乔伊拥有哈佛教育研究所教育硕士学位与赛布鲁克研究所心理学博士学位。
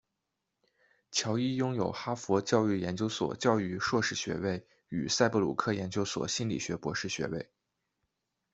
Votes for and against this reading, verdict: 2, 0, accepted